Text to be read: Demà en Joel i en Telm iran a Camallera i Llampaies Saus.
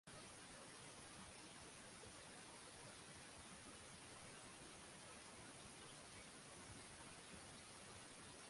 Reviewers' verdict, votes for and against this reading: rejected, 0, 3